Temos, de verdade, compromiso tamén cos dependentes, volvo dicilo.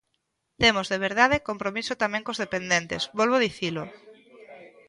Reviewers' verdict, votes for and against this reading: rejected, 1, 2